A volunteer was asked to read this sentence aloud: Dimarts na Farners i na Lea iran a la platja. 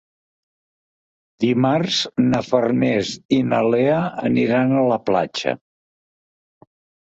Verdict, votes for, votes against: rejected, 0, 2